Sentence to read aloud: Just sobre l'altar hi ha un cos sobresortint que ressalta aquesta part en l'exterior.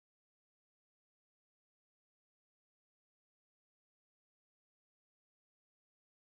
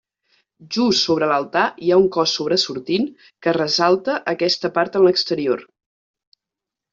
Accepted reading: second